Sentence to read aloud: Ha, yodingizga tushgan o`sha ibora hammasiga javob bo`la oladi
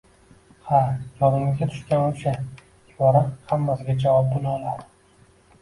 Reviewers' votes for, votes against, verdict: 2, 1, accepted